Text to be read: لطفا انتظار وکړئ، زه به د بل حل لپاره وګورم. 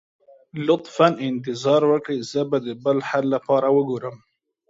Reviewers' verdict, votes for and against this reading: accepted, 2, 0